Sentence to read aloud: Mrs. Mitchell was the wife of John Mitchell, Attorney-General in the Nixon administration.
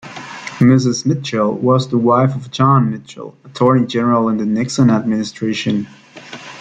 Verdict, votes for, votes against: accepted, 2, 0